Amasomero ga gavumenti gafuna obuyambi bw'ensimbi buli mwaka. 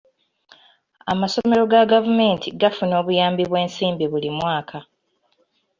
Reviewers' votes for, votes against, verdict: 2, 1, accepted